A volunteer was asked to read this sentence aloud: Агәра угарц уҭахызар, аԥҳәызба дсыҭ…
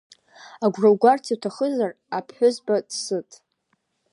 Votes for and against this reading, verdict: 0, 2, rejected